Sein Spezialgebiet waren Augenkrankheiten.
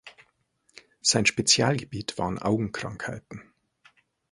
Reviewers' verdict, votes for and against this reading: accepted, 4, 0